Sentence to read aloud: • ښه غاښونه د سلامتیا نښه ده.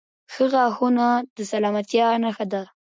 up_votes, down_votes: 1, 2